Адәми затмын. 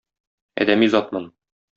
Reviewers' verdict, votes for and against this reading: accepted, 2, 0